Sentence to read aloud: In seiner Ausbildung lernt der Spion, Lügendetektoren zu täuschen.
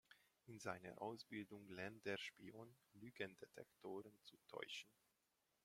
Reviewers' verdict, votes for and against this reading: rejected, 1, 2